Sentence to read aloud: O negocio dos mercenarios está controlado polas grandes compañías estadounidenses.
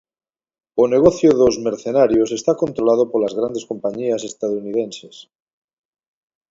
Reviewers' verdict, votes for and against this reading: accepted, 2, 0